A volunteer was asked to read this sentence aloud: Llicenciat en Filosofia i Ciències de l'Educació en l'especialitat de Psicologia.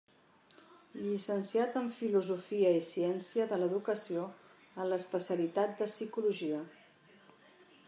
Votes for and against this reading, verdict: 2, 1, accepted